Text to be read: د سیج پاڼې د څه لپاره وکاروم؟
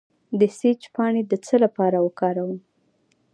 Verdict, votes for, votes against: accepted, 2, 1